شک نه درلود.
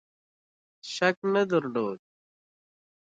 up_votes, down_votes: 2, 0